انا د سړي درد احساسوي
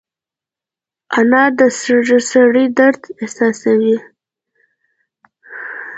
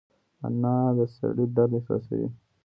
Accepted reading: first